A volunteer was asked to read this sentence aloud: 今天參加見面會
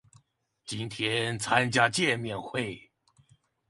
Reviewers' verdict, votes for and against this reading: accepted, 2, 0